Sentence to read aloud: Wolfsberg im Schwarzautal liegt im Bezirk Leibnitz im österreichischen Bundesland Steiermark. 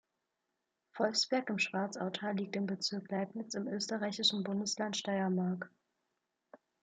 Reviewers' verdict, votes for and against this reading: accepted, 2, 0